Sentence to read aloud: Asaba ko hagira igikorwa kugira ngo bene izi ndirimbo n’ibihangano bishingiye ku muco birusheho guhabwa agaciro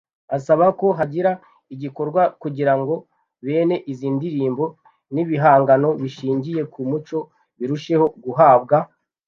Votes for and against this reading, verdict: 0, 2, rejected